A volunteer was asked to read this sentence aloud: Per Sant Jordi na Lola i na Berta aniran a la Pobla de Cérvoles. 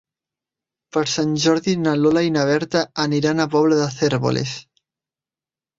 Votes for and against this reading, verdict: 1, 2, rejected